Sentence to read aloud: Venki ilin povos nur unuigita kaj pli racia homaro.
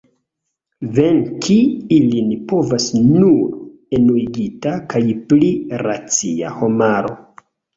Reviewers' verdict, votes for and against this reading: rejected, 1, 2